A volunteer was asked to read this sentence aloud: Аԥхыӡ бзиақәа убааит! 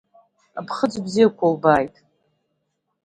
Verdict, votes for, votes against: accepted, 2, 0